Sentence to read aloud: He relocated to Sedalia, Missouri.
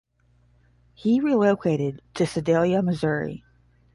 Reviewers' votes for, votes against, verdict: 10, 0, accepted